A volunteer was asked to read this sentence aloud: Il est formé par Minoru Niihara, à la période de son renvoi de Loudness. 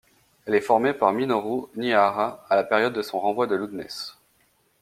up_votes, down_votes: 1, 2